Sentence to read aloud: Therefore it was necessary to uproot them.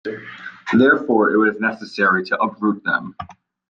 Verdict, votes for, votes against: accepted, 2, 1